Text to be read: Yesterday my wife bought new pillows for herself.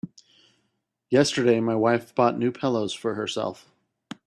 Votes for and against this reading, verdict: 2, 0, accepted